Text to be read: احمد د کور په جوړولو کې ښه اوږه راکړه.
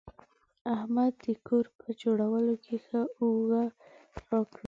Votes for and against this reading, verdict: 2, 0, accepted